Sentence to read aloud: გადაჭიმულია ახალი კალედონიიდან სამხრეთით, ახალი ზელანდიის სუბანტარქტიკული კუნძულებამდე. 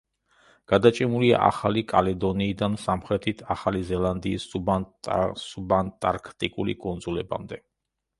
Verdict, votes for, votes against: rejected, 0, 2